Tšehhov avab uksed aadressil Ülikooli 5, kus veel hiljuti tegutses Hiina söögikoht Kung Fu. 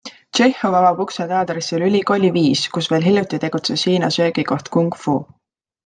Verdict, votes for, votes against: rejected, 0, 2